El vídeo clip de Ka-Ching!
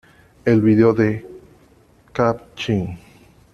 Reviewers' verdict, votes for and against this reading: rejected, 1, 2